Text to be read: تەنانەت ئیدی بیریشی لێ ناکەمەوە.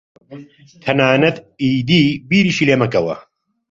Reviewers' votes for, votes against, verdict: 0, 2, rejected